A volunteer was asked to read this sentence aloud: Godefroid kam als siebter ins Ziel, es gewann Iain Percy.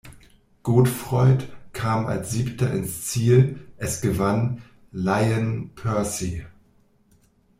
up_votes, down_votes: 1, 2